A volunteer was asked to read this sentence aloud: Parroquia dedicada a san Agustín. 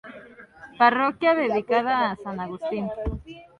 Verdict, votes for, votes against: rejected, 0, 2